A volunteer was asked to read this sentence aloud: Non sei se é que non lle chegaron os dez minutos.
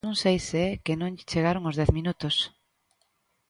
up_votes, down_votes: 1, 2